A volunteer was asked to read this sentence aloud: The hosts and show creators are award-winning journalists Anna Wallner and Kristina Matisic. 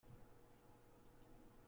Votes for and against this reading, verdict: 0, 2, rejected